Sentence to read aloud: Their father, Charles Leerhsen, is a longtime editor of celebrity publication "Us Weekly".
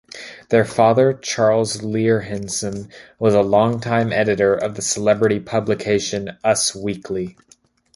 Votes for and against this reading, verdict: 1, 2, rejected